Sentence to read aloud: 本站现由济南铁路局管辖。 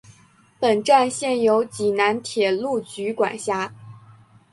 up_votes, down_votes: 2, 0